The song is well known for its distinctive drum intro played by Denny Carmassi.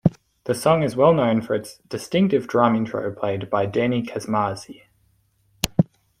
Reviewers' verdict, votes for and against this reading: rejected, 0, 2